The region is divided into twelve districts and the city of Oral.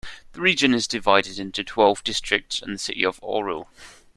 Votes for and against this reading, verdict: 2, 0, accepted